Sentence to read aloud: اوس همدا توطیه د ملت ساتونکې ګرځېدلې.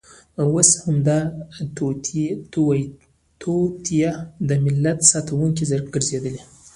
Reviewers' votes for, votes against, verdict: 2, 1, accepted